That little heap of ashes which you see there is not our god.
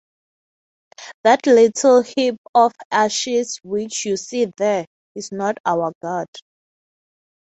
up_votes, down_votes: 6, 0